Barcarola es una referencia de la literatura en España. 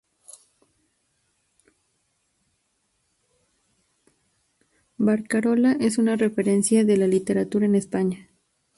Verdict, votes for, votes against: rejected, 0, 2